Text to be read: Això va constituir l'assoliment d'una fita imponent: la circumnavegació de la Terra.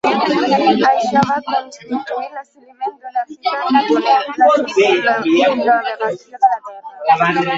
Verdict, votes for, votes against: rejected, 0, 2